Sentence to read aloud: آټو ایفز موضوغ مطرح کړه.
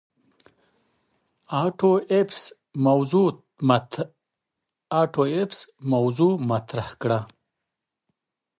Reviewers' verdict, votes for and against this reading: rejected, 1, 2